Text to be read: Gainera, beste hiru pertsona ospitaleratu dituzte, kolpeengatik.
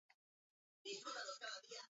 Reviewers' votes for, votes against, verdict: 0, 8, rejected